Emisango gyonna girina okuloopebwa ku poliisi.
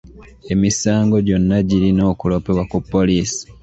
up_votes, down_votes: 2, 0